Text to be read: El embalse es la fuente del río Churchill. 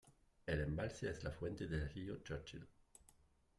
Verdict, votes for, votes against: rejected, 0, 2